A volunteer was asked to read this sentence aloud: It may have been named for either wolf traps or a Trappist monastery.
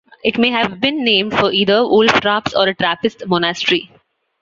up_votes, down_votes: 2, 0